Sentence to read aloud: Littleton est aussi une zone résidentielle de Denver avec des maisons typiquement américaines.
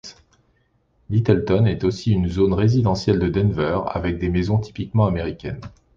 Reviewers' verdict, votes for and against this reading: rejected, 1, 2